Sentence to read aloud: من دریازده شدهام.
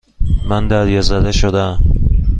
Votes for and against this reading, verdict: 2, 0, accepted